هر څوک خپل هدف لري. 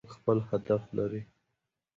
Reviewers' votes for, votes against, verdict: 1, 2, rejected